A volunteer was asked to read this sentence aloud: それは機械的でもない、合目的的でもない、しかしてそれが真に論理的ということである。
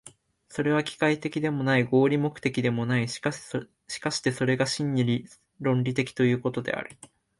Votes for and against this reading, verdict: 0, 2, rejected